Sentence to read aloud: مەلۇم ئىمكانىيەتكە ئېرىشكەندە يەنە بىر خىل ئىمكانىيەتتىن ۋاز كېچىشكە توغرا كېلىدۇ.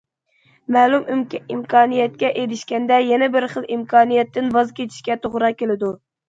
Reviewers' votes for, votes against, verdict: 0, 2, rejected